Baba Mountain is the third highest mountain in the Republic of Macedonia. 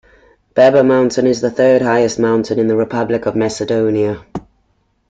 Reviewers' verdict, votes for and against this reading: accepted, 2, 0